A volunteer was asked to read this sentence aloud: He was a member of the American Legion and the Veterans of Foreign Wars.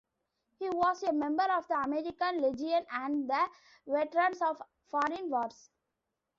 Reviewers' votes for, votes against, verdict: 1, 2, rejected